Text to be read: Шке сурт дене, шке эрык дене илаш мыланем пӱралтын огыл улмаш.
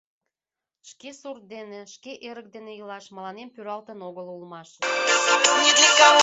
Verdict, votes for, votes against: rejected, 0, 2